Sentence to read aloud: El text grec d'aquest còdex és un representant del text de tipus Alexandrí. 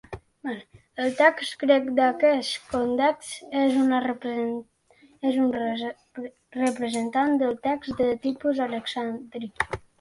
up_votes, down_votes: 0, 2